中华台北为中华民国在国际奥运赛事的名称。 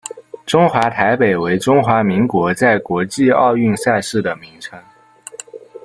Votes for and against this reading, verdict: 0, 2, rejected